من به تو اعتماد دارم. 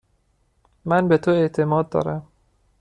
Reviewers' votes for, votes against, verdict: 2, 0, accepted